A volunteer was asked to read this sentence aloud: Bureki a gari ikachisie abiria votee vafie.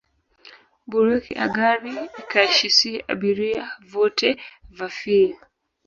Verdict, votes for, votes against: rejected, 1, 2